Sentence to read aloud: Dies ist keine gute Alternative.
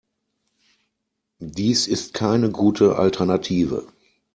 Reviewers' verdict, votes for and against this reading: accepted, 2, 0